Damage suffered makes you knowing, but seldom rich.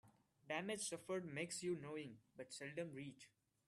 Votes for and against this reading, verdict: 2, 0, accepted